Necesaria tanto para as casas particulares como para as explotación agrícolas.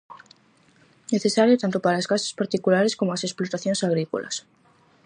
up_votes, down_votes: 2, 2